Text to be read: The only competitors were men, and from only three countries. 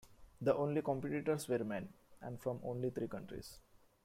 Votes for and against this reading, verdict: 2, 0, accepted